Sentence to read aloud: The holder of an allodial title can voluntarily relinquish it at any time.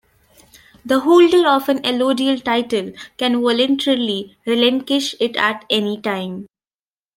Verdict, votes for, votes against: rejected, 0, 2